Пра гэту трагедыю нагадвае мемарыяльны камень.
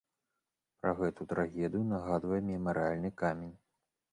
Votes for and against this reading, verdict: 1, 3, rejected